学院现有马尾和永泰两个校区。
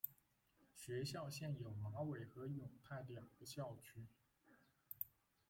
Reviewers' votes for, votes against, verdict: 1, 2, rejected